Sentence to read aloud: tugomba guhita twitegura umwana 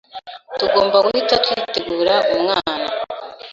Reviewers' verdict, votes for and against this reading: accepted, 2, 0